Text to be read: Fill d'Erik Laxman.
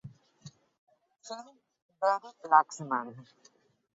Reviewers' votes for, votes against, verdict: 0, 3, rejected